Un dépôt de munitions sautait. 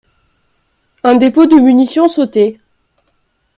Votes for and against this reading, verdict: 3, 0, accepted